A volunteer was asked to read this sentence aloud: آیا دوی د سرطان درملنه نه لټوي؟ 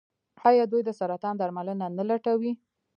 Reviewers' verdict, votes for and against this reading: rejected, 0, 2